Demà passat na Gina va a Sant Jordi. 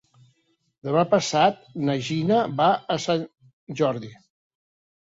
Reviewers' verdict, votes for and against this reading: accepted, 3, 0